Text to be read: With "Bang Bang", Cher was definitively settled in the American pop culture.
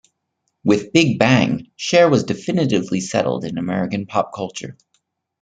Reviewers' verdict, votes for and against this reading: rejected, 0, 2